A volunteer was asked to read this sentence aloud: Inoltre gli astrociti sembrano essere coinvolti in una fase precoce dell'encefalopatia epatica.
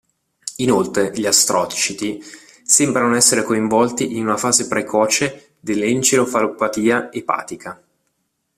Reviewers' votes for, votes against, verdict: 1, 2, rejected